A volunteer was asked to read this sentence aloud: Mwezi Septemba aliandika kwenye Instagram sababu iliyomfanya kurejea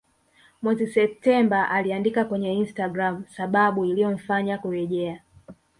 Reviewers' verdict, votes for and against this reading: rejected, 1, 2